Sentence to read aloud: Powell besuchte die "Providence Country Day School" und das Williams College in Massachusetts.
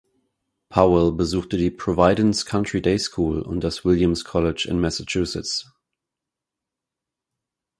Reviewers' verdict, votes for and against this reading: rejected, 2, 4